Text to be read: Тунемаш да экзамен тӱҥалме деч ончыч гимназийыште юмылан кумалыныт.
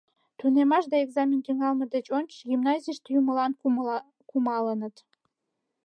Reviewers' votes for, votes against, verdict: 1, 2, rejected